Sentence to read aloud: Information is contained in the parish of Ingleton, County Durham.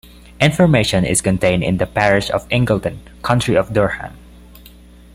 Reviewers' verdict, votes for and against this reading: rejected, 0, 2